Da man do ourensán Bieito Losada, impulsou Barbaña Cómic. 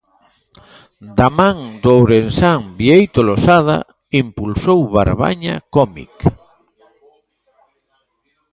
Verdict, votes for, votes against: rejected, 1, 2